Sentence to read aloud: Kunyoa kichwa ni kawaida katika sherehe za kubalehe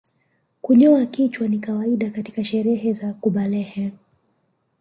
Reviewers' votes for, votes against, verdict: 3, 1, accepted